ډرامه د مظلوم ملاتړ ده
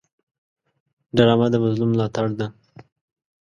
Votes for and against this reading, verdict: 2, 0, accepted